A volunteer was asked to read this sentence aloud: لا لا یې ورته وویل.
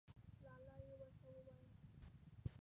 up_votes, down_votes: 0, 2